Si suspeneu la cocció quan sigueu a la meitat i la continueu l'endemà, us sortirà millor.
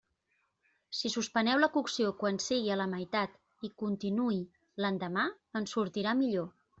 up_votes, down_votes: 1, 2